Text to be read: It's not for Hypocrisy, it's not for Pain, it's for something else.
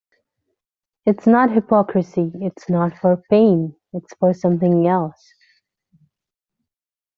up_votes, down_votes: 2, 1